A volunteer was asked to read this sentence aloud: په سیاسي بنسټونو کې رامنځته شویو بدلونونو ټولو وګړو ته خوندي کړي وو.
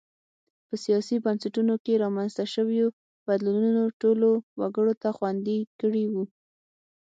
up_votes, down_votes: 6, 0